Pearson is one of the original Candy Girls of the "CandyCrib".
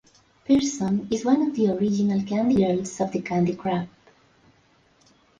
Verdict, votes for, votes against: accepted, 2, 0